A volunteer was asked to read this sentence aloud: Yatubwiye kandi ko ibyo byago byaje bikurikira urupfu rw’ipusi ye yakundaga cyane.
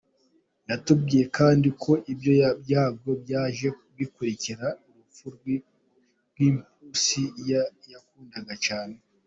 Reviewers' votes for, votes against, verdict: 0, 3, rejected